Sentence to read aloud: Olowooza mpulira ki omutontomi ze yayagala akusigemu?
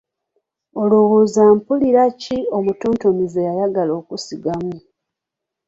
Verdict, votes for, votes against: rejected, 1, 3